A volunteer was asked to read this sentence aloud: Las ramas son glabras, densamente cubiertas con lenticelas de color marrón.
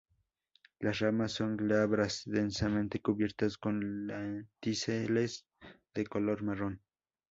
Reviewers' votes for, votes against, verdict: 0, 2, rejected